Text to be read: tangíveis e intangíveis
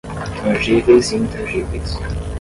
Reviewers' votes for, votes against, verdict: 5, 5, rejected